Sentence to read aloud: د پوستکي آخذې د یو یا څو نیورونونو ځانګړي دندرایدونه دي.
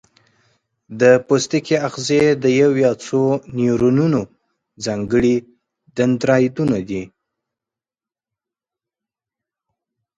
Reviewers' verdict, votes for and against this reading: accepted, 4, 0